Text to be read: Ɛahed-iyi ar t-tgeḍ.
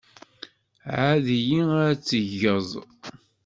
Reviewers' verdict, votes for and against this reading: rejected, 1, 2